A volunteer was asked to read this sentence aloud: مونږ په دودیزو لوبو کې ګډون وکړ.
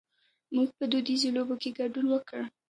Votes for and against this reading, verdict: 2, 0, accepted